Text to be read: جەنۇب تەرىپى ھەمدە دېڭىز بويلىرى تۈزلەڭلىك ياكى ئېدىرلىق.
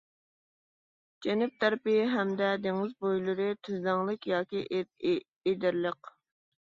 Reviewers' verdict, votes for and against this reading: rejected, 1, 2